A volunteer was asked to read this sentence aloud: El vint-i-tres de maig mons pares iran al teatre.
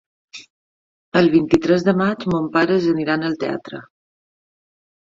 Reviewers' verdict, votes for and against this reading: rejected, 0, 2